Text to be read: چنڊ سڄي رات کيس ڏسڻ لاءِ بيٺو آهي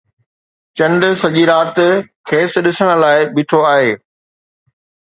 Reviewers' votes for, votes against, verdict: 2, 0, accepted